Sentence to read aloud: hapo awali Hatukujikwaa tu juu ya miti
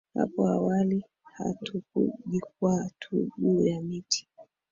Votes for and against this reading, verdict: 0, 3, rejected